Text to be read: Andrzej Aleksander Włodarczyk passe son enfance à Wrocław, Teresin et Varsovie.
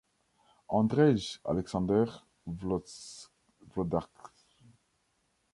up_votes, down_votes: 1, 2